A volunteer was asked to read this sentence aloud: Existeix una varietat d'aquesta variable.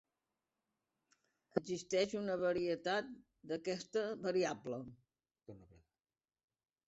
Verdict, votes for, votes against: rejected, 0, 2